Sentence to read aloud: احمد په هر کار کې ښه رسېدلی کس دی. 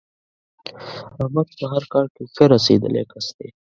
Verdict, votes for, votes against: rejected, 1, 2